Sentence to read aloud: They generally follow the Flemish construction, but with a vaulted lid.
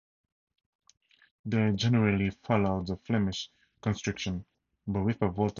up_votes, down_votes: 0, 2